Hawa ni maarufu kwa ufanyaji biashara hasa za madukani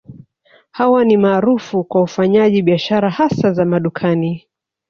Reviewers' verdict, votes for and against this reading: accepted, 3, 0